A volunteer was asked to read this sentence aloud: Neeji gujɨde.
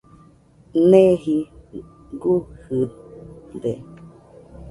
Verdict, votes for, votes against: accepted, 2, 0